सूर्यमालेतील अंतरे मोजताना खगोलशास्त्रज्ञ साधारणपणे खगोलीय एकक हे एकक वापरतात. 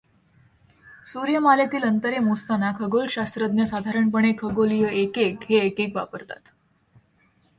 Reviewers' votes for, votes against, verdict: 2, 0, accepted